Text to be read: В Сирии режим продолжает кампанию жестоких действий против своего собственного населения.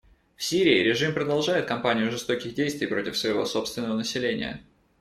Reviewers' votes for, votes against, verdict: 2, 0, accepted